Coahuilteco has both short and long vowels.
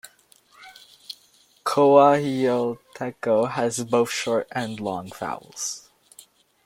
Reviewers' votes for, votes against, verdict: 0, 2, rejected